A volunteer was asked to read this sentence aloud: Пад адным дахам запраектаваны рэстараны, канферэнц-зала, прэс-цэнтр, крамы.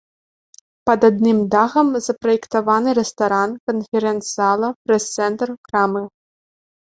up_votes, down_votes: 0, 2